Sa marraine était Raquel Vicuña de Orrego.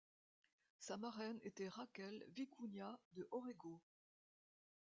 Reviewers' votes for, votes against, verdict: 1, 2, rejected